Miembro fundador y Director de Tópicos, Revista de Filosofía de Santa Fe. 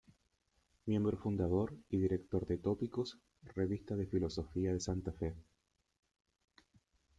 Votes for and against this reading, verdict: 0, 2, rejected